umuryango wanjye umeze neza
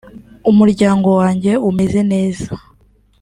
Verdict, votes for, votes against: accepted, 2, 0